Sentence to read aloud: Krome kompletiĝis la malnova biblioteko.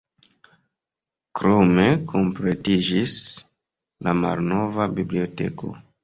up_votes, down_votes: 2, 1